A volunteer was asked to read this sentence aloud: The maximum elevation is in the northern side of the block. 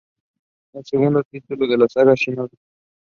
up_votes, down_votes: 0, 2